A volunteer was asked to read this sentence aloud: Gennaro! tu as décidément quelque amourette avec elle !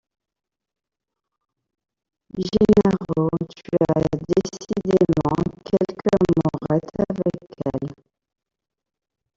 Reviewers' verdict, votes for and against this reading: rejected, 0, 2